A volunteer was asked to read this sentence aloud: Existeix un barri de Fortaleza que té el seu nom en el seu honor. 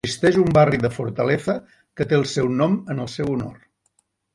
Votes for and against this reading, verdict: 1, 2, rejected